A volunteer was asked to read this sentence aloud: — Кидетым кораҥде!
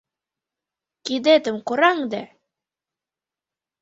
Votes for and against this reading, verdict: 2, 0, accepted